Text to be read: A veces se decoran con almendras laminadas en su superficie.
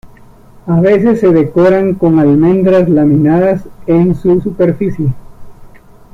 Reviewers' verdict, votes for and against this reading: accepted, 2, 0